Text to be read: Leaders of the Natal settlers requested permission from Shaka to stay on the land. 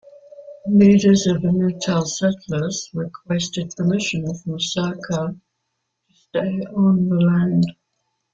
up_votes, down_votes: 0, 2